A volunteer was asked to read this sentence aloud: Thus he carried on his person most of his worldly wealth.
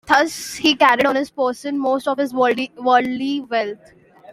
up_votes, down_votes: 1, 2